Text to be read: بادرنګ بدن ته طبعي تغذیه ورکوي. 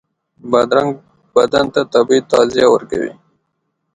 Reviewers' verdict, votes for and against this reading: rejected, 1, 2